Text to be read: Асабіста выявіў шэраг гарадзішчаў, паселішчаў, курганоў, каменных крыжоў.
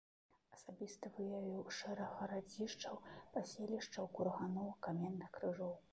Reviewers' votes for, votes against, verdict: 0, 2, rejected